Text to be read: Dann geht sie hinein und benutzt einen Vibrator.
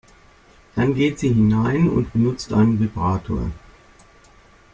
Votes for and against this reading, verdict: 2, 0, accepted